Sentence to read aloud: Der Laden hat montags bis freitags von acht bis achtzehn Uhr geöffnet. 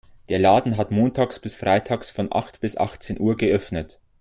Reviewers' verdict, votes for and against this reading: accepted, 2, 0